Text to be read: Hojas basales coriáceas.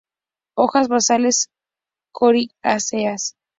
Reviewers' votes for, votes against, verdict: 2, 0, accepted